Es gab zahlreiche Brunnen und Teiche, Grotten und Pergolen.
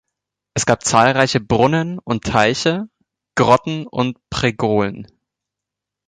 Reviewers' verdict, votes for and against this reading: rejected, 0, 2